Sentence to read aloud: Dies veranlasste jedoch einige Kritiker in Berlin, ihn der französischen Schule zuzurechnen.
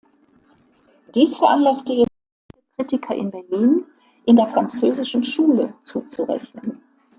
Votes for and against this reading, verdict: 0, 2, rejected